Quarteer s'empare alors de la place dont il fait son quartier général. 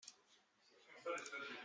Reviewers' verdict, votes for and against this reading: rejected, 0, 2